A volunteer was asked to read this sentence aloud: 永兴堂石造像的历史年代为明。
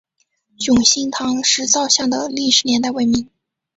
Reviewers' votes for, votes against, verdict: 8, 3, accepted